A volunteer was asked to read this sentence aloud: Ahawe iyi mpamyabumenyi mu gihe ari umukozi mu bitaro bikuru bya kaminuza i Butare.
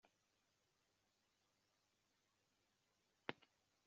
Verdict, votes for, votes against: rejected, 0, 2